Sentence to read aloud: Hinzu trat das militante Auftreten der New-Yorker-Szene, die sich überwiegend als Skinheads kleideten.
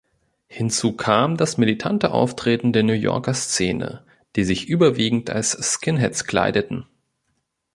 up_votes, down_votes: 0, 2